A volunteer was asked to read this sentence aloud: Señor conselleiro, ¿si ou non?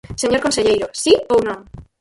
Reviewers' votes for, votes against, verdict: 0, 4, rejected